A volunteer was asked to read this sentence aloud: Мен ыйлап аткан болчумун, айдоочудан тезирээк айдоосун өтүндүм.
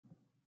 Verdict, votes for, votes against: rejected, 0, 2